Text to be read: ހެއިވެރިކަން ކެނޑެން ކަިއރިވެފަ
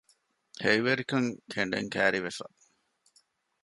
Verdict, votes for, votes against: accepted, 2, 0